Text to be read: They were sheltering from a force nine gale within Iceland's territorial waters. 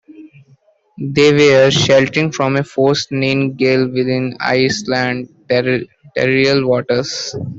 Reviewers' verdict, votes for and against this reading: rejected, 0, 2